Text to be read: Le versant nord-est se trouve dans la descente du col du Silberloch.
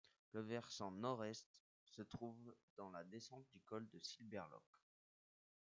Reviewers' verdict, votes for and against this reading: rejected, 1, 2